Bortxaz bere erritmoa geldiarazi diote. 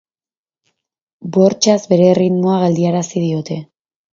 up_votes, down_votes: 6, 0